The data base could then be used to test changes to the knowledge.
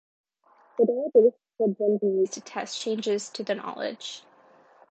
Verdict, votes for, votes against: accepted, 2, 1